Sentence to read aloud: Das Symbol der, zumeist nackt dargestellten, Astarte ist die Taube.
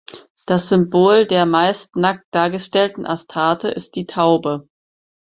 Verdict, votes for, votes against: rejected, 0, 4